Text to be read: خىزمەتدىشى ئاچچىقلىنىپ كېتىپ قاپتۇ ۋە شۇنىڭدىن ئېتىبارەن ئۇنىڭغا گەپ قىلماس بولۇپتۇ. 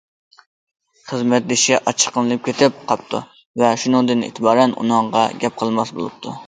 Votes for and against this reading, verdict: 2, 0, accepted